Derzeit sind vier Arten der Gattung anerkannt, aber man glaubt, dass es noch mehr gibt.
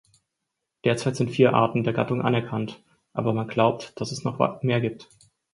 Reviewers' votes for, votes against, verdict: 2, 4, rejected